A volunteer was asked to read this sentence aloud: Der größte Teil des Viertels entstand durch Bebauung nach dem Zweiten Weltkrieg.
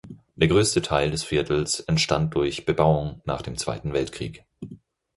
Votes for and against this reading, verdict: 4, 0, accepted